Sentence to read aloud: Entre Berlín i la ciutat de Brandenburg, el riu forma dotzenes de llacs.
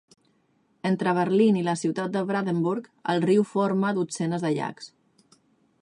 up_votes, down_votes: 2, 0